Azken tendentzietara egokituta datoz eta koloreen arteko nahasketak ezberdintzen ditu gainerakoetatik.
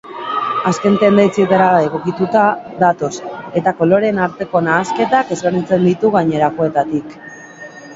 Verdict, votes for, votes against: rejected, 1, 2